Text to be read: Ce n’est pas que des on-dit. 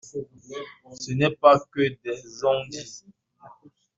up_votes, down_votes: 2, 0